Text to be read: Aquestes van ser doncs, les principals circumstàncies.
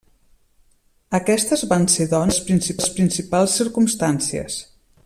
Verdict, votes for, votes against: rejected, 0, 2